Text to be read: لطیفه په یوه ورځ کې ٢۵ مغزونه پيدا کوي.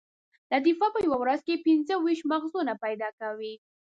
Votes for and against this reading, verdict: 0, 2, rejected